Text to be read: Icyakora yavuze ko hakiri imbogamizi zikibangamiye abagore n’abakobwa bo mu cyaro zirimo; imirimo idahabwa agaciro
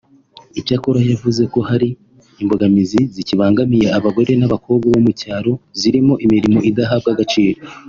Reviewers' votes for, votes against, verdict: 3, 1, accepted